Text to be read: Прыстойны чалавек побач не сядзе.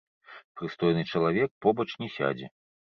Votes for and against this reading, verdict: 1, 2, rejected